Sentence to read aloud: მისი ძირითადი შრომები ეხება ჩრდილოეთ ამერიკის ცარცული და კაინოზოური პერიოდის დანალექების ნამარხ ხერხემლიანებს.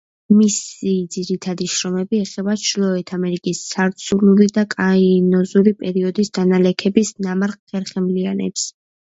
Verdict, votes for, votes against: accepted, 2, 0